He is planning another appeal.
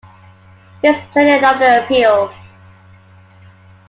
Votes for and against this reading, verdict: 1, 2, rejected